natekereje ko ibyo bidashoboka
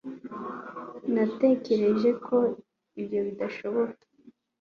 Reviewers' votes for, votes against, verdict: 1, 2, rejected